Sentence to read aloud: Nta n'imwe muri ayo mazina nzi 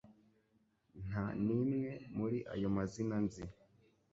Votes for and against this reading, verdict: 3, 0, accepted